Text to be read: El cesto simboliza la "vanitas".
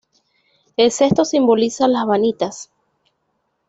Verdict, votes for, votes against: accepted, 2, 0